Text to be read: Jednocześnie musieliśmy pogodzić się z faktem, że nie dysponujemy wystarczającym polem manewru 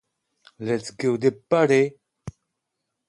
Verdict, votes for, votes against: rejected, 0, 2